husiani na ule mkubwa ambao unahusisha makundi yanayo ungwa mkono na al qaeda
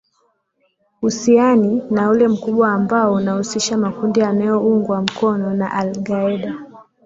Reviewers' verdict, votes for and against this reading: rejected, 0, 2